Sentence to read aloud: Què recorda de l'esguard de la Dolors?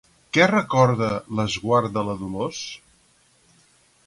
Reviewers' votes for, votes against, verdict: 0, 4, rejected